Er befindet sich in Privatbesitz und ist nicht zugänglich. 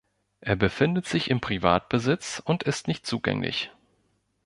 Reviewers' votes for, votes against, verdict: 0, 2, rejected